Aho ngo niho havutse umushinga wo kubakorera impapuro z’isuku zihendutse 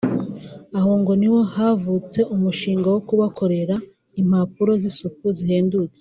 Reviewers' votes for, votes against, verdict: 2, 0, accepted